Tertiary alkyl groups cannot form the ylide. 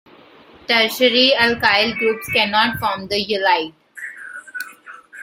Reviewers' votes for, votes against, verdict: 1, 2, rejected